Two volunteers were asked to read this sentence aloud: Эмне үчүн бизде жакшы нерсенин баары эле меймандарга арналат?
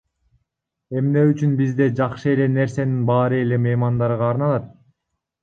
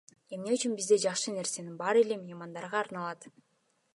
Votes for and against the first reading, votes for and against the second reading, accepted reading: 1, 2, 2, 0, second